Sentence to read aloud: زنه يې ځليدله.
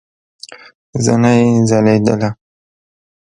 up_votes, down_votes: 1, 2